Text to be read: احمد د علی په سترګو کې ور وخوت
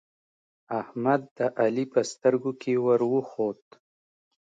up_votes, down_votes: 2, 0